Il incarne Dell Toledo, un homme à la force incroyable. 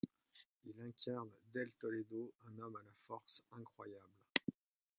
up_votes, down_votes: 0, 2